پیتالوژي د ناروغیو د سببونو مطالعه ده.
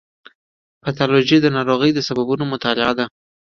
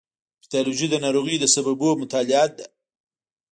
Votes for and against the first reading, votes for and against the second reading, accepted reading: 2, 0, 1, 2, first